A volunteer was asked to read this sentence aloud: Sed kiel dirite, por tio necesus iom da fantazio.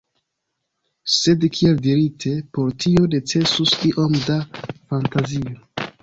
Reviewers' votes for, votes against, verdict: 2, 1, accepted